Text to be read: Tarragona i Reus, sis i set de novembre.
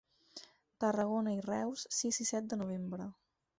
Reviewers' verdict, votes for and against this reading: accepted, 4, 0